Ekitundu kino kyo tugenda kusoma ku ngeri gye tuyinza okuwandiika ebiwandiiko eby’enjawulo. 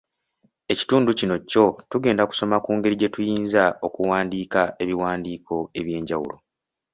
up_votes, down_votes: 2, 0